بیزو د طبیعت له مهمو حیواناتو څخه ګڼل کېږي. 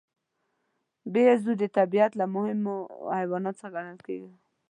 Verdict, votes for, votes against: rejected, 0, 2